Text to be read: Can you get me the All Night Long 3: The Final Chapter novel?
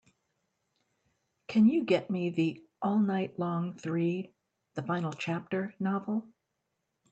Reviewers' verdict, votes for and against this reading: rejected, 0, 2